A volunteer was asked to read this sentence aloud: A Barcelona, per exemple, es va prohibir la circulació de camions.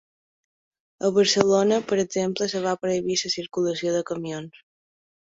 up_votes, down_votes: 2, 0